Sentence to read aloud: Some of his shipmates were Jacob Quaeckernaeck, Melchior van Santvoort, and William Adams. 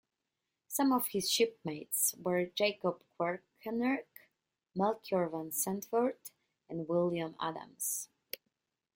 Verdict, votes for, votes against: accepted, 2, 1